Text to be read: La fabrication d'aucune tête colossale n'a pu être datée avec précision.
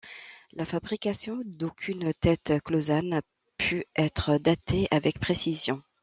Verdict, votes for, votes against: rejected, 1, 2